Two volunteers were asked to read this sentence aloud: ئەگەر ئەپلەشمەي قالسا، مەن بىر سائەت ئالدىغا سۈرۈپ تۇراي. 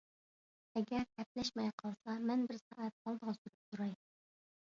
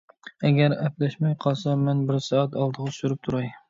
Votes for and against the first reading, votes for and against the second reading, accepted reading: 0, 2, 2, 0, second